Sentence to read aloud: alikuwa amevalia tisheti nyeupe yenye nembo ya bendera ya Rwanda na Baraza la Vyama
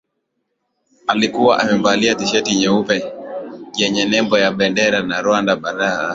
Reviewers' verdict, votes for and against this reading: rejected, 0, 2